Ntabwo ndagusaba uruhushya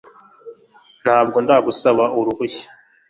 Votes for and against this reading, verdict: 2, 0, accepted